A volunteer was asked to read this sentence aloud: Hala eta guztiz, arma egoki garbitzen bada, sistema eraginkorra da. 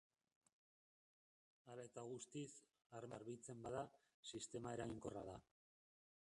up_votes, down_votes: 0, 2